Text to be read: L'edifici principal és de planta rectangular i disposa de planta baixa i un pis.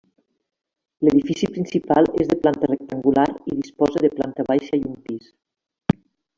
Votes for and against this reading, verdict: 1, 2, rejected